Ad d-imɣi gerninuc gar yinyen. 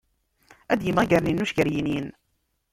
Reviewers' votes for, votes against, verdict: 0, 2, rejected